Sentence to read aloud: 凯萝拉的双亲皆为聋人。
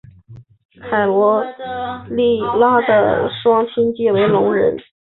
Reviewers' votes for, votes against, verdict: 1, 2, rejected